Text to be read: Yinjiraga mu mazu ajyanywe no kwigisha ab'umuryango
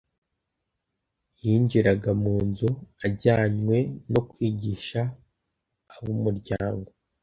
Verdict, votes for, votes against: rejected, 1, 2